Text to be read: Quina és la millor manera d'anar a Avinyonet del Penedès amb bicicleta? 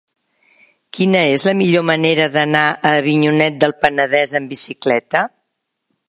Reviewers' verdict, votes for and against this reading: accepted, 2, 0